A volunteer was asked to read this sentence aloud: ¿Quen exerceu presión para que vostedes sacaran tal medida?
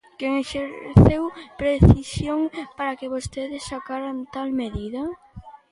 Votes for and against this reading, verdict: 0, 2, rejected